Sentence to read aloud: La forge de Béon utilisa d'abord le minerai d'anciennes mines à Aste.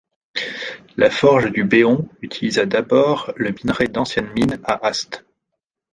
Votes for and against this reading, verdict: 1, 2, rejected